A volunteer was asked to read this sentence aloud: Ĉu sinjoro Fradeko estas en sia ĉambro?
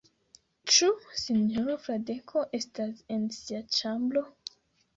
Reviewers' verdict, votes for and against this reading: accepted, 2, 0